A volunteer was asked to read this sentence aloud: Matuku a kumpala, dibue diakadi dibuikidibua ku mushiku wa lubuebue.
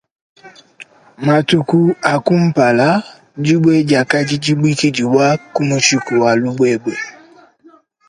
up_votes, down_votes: 1, 2